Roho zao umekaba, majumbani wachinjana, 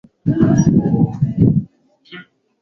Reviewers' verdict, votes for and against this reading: rejected, 3, 6